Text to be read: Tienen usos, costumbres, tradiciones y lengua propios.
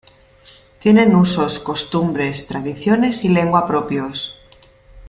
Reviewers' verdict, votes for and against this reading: accepted, 2, 0